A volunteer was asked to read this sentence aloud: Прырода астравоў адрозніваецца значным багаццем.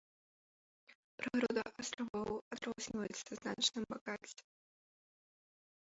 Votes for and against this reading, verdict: 0, 2, rejected